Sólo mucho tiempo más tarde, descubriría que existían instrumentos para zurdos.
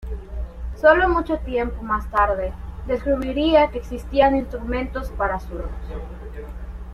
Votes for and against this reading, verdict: 2, 0, accepted